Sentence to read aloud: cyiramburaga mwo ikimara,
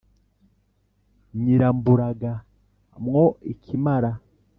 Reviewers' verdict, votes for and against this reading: rejected, 1, 2